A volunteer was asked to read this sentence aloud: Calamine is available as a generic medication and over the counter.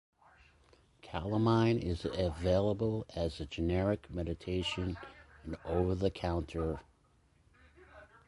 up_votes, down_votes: 0, 2